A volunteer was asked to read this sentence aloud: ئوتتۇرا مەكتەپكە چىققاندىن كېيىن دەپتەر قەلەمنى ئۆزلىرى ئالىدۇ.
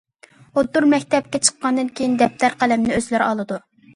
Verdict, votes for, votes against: accepted, 2, 0